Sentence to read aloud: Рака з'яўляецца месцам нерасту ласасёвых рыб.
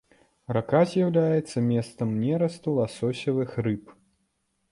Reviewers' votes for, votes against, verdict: 0, 2, rejected